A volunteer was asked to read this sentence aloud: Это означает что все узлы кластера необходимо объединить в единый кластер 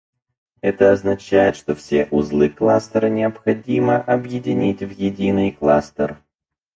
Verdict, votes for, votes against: rejected, 2, 4